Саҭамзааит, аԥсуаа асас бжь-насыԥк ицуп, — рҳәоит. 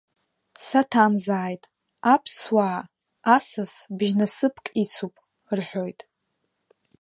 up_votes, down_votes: 2, 0